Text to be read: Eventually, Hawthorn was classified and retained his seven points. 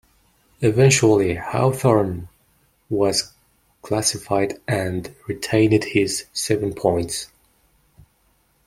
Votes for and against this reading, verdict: 1, 2, rejected